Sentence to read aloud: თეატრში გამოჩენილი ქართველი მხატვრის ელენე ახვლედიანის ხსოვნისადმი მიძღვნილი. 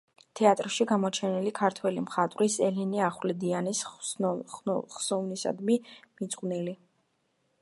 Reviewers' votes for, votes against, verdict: 0, 2, rejected